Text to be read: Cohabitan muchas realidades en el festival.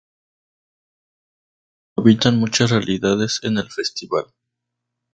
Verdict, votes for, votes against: accepted, 2, 0